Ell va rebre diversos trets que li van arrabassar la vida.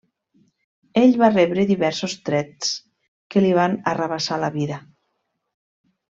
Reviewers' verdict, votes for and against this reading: accepted, 2, 0